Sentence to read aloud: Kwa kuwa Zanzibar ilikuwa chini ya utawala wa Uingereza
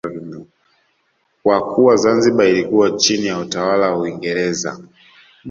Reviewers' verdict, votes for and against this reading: accepted, 2, 0